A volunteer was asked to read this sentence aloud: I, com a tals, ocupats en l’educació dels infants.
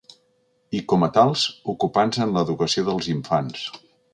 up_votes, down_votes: 2, 3